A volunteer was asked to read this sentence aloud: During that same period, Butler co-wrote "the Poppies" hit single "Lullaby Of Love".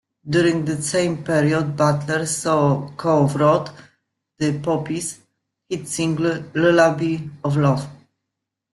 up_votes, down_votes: 0, 2